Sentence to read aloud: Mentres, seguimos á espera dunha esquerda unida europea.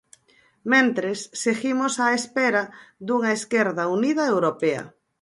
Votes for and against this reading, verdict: 4, 0, accepted